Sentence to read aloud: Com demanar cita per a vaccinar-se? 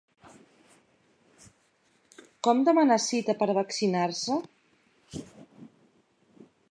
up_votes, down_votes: 3, 0